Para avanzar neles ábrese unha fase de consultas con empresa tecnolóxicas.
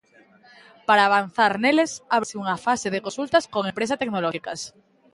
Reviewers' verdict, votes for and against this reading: rejected, 0, 2